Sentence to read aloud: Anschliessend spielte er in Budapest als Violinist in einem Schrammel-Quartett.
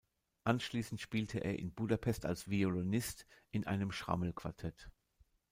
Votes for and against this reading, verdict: 0, 2, rejected